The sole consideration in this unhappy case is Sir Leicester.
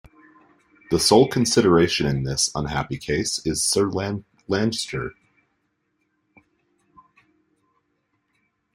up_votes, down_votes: 0, 2